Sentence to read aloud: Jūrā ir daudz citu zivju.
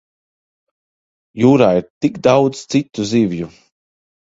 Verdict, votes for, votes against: rejected, 0, 2